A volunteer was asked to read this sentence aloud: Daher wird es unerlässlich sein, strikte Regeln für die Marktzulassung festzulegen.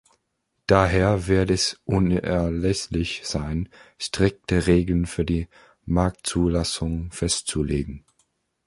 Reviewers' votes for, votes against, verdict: 2, 0, accepted